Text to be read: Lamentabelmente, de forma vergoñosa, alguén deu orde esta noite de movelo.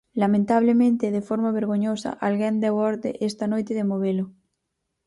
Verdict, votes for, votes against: rejected, 0, 4